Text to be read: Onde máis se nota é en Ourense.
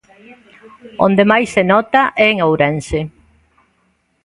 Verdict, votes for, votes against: rejected, 1, 2